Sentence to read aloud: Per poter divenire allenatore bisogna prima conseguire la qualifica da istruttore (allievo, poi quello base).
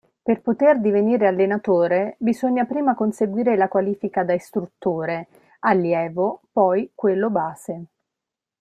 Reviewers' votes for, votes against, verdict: 2, 0, accepted